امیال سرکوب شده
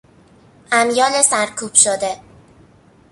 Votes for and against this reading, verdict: 2, 1, accepted